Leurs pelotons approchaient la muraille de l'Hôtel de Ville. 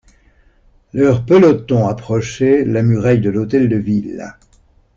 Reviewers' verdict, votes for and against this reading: accepted, 2, 0